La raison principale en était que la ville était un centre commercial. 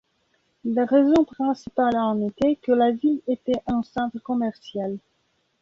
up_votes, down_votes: 2, 0